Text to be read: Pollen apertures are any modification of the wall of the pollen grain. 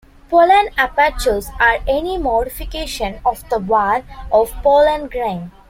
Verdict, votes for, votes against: rejected, 1, 2